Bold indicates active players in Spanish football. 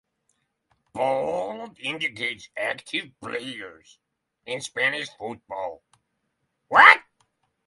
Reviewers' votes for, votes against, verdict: 0, 6, rejected